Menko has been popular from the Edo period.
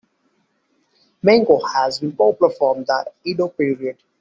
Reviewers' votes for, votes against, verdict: 2, 0, accepted